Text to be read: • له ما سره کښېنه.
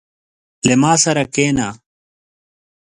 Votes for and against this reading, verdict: 1, 2, rejected